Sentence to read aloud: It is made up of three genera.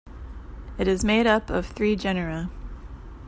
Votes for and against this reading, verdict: 0, 2, rejected